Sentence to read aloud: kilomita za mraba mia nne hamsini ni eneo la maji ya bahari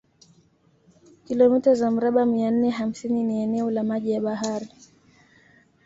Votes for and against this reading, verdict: 2, 0, accepted